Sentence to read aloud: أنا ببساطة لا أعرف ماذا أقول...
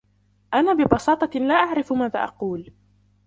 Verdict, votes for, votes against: accepted, 2, 1